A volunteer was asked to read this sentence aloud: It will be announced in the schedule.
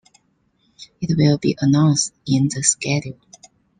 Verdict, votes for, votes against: accepted, 2, 0